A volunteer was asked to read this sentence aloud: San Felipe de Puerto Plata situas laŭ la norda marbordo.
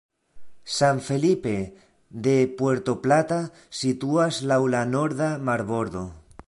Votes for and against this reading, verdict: 2, 0, accepted